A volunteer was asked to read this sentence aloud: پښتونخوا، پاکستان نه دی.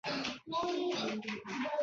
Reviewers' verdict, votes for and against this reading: rejected, 1, 2